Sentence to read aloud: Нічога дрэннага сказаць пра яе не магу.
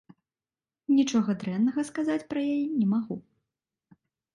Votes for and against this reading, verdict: 2, 0, accepted